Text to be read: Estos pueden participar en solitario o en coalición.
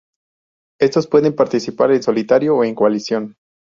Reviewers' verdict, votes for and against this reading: accepted, 2, 0